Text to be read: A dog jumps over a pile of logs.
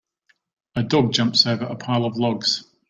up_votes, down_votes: 2, 0